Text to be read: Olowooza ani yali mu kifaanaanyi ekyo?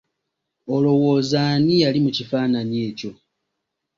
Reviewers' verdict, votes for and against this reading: accepted, 2, 0